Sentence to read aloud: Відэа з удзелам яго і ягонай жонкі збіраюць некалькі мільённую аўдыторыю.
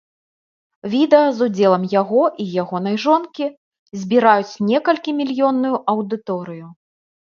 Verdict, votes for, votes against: accepted, 2, 0